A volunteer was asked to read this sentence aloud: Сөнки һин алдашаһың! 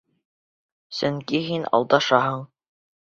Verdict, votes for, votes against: accepted, 2, 0